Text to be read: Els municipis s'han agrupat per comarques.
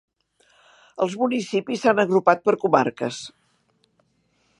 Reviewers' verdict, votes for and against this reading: accepted, 3, 0